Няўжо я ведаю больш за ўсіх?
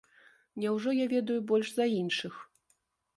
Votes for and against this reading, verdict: 0, 2, rejected